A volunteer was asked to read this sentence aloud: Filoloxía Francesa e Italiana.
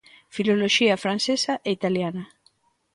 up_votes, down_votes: 2, 0